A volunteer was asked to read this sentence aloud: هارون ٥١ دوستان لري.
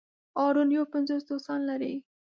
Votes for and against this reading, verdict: 0, 2, rejected